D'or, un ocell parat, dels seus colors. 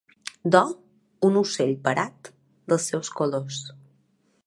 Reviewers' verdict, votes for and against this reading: accepted, 3, 1